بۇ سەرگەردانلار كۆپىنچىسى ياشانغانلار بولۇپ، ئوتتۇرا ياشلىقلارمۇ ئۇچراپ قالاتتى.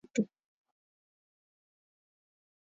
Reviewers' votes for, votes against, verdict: 0, 2, rejected